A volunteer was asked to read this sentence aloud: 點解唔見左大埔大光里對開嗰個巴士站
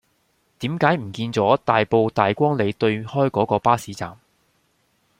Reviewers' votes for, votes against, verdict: 2, 0, accepted